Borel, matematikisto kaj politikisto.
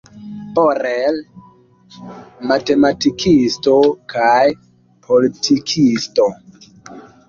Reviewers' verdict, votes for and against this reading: accepted, 2, 0